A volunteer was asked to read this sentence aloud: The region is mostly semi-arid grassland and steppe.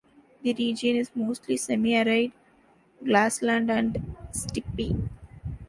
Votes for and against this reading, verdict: 1, 2, rejected